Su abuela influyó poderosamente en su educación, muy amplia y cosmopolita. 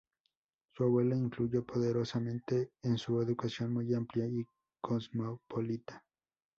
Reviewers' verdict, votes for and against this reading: rejected, 2, 2